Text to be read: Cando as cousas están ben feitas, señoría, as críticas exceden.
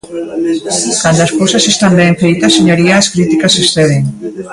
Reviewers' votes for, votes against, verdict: 1, 2, rejected